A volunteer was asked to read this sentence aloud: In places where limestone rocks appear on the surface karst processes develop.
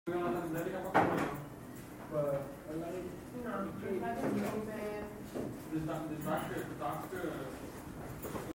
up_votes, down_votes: 0, 2